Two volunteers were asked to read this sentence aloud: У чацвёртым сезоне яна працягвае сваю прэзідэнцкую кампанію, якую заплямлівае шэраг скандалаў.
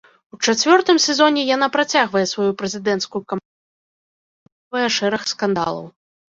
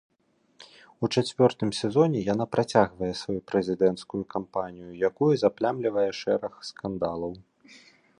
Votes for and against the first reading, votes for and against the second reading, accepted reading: 0, 2, 2, 1, second